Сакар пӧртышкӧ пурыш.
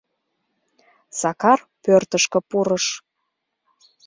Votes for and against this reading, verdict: 0, 2, rejected